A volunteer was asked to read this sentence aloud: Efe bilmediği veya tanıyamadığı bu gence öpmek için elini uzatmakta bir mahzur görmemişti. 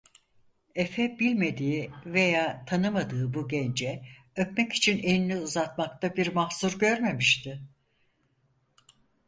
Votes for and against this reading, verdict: 2, 4, rejected